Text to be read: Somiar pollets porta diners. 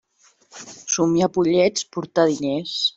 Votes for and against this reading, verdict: 1, 2, rejected